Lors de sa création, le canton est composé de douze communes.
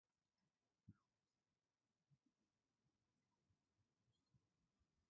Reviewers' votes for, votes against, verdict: 0, 2, rejected